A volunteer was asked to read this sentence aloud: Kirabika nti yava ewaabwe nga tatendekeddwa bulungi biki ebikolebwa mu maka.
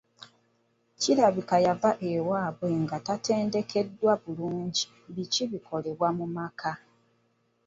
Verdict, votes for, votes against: rejected, 0, 2